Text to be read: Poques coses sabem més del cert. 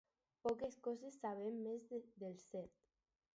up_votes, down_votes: 2, 2